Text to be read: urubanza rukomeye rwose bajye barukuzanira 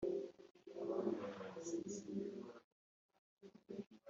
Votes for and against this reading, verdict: 1, 2, rejected